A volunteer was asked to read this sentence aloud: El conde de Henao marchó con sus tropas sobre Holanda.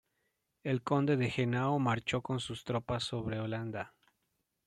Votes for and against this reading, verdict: 3, 0, accepted